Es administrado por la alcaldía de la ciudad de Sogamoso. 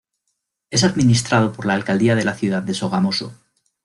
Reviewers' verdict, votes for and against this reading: accepted, 2, 0